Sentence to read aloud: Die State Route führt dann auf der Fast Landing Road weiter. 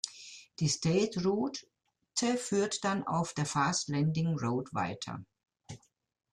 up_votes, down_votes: 1, 2